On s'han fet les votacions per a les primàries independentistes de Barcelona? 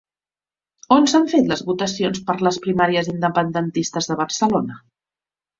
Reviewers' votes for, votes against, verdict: 0, 2, rejected